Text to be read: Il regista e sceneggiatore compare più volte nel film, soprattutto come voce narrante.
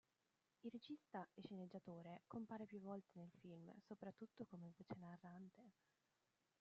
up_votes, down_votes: 1, 2